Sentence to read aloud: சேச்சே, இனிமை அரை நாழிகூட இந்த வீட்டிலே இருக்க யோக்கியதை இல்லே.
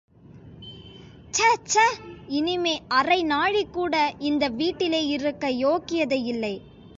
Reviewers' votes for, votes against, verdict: 2, 0, accepted